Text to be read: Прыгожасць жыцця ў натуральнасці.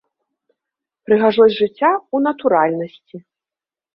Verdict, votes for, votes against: rejected, 1, 2